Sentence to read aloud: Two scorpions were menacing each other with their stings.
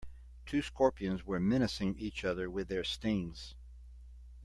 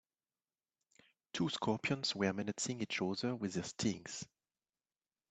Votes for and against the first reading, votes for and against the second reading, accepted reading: 2, 0, 1, 2, first